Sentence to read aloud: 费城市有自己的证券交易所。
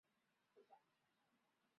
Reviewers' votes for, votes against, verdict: 0, 3, rejected